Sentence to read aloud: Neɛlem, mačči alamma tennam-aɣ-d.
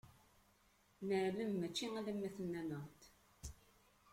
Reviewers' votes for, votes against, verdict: 2, 1, accepted